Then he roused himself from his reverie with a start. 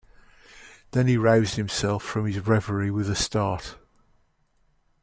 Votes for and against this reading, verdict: 2, 0, accepted